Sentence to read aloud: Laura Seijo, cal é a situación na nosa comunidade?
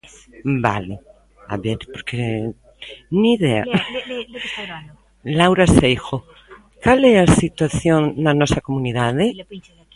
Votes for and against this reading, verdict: 0, 2, rejected